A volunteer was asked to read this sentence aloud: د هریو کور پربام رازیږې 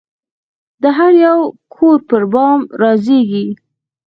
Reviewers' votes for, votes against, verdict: 4, 0, accepted